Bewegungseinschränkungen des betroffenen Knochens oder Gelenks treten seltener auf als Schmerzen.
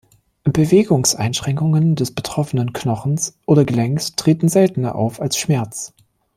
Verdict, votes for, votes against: rejected, 0, 2